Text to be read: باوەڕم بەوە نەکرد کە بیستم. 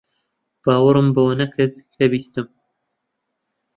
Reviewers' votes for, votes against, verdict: 2, 0, accepted